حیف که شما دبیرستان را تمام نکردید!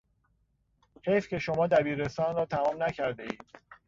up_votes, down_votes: 1, 2